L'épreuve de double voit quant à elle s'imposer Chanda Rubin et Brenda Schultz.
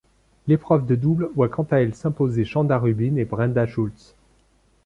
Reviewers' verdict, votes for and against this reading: accepted, 2, 0